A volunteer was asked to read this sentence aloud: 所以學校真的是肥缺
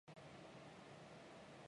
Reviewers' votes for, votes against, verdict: 0, 2, rejected